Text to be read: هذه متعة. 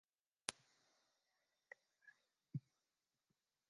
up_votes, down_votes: 0, 2